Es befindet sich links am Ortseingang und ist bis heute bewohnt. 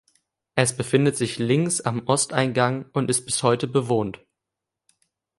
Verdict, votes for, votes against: rejected, 0, 2